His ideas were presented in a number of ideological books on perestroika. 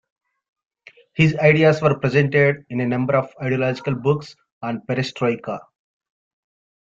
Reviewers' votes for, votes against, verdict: 2, 0, accepted